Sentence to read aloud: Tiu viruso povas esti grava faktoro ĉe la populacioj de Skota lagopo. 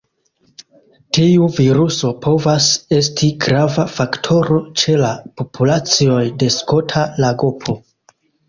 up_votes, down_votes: 0, 2